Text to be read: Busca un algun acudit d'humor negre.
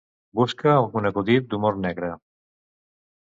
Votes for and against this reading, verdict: 1, 2, rejected